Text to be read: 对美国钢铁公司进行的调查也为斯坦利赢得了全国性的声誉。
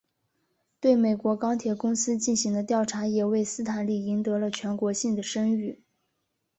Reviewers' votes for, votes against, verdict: 2, 0, accepted